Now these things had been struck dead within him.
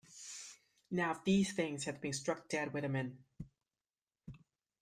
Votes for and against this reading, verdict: 1, 2, rejected